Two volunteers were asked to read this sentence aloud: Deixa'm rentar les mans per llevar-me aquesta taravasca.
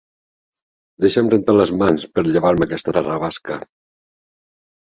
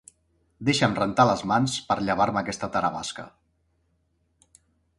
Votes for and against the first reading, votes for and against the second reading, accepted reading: 1, 2, 2, 0, second